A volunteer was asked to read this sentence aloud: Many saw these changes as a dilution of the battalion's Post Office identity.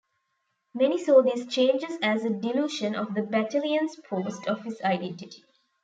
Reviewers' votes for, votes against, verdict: 1, 2, rejected